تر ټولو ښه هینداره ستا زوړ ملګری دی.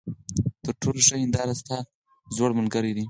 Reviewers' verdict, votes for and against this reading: accepted, 4, 0